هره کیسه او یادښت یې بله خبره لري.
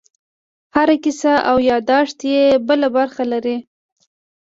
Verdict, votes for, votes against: rejected, 0, 2